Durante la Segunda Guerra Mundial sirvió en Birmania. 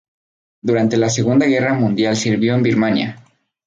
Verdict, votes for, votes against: accepted, 6, 0